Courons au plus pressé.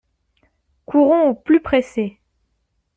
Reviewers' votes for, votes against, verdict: 2, 0, accepted